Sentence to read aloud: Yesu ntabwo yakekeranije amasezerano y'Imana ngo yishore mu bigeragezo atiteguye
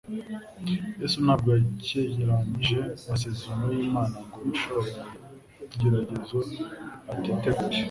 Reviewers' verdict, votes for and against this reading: accepted, 2, 1